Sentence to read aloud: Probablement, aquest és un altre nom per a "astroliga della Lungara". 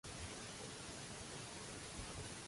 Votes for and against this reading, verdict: 0, 2, rejected